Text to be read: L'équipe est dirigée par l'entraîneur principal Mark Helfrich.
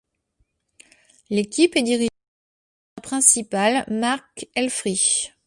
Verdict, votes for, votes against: rejected, 1, 2